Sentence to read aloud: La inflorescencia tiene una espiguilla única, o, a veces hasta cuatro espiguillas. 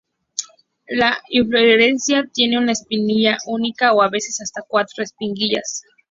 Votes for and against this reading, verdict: 2, 0, accepted